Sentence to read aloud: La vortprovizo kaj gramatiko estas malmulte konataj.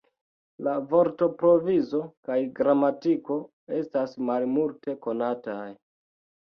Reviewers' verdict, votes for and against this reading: rejected, 1, 2